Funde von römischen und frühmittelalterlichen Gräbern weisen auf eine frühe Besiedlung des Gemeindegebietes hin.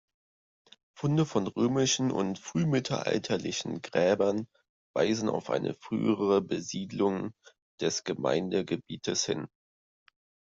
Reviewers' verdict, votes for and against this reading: rejected, 0, 2